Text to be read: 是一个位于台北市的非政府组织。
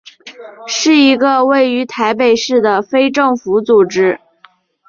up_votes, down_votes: 3, 0